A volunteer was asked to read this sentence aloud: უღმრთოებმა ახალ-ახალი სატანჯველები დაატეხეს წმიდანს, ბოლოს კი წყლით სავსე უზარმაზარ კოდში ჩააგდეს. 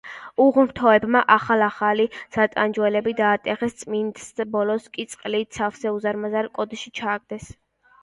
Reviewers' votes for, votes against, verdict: 1, 2, rejected